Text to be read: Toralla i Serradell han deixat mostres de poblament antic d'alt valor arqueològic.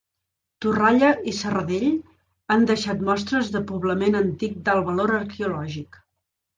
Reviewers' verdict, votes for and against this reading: rejected, 1, 2